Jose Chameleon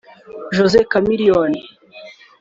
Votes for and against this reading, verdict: 3, 0, accepted